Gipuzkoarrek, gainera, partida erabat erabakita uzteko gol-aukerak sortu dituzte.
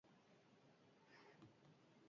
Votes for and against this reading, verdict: 2, 6, rejected